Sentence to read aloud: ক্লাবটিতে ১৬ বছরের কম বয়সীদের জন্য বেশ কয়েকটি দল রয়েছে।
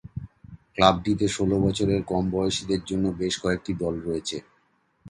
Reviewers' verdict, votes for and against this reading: rejected, 0, 2